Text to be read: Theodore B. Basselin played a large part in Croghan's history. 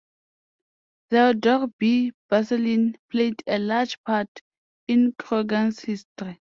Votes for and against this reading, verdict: 2, 0, accepted